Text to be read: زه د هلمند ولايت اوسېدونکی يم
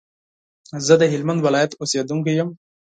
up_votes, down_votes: 4, 0